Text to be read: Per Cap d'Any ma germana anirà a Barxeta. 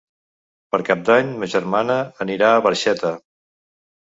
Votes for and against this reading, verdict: 3, 0, accepted